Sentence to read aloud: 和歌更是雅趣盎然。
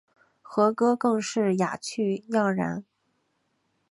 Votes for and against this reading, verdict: 1, 3, rejected